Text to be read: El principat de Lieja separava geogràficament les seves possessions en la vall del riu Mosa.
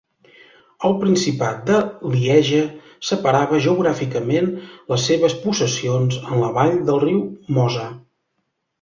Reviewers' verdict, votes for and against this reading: accepted, 2, 0